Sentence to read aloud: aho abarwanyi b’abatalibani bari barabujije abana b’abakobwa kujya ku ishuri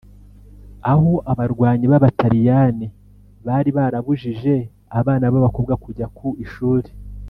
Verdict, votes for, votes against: rejected, 1, 2